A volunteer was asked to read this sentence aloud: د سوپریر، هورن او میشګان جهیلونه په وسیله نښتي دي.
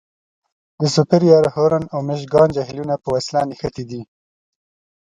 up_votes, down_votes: 2, 0